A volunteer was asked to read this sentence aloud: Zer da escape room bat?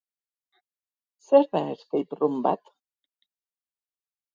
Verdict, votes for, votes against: accepted, 4, 0